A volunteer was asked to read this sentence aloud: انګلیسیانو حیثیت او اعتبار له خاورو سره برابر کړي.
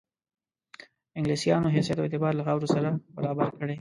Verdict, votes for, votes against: rejected, 1, 2